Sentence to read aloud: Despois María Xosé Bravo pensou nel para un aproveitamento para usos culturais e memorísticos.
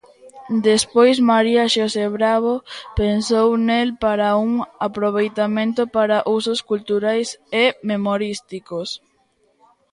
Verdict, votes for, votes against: accepted, 2, 0